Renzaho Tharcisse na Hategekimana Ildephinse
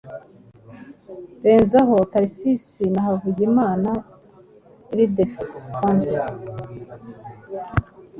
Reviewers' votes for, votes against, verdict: 1, 2, rejected